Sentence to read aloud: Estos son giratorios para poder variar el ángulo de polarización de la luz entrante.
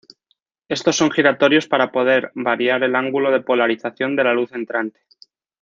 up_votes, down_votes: 2, 0